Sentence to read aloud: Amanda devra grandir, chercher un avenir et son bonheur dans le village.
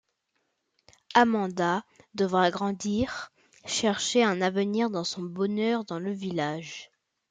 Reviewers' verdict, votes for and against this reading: rejected, 0, 2